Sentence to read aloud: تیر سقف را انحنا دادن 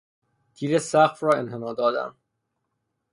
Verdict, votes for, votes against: accepted, 6, 0